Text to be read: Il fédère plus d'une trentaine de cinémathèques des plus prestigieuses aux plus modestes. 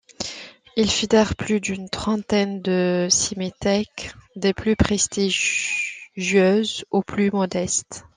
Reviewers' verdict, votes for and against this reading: rejected, 1, 2